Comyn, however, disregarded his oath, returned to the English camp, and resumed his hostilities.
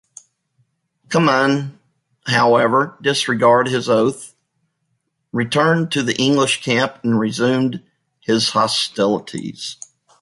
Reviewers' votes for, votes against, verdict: 1, 2, rejected